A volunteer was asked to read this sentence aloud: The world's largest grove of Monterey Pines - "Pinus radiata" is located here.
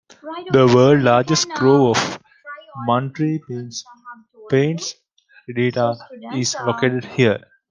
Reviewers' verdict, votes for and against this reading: rejected, 1, 2